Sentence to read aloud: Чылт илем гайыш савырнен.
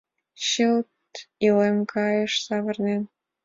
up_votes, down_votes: 3, 0